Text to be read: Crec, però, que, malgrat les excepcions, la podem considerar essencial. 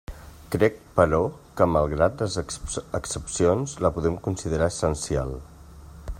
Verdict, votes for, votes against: rejected, 0, 2